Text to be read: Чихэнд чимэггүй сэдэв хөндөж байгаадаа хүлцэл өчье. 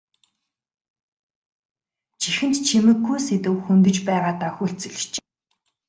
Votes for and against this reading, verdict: 0, 2, rejected